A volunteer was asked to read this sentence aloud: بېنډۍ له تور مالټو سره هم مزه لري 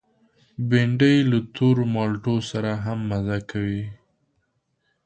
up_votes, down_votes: 1, 2